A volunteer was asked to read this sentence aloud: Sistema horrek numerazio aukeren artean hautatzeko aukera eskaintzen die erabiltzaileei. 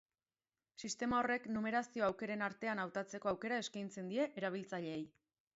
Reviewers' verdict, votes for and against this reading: rejected, 0, 2